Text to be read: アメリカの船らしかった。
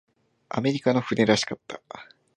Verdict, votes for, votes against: accepted, 2, 1